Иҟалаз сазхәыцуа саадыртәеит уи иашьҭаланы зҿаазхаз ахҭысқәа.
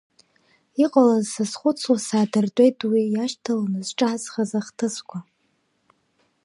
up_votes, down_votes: 2, 0